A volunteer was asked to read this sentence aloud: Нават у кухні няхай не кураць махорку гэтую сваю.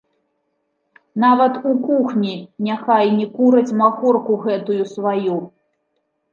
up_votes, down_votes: 2, 0